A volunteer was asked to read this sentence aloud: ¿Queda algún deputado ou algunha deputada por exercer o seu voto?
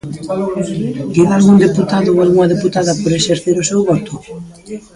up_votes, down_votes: 1, 2